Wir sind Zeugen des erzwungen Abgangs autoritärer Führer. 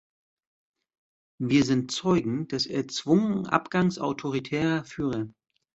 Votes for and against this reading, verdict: 2, 0, accepted